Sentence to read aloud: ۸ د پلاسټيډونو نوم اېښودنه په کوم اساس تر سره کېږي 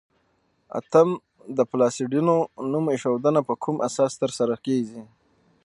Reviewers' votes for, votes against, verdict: 0, 2, rejected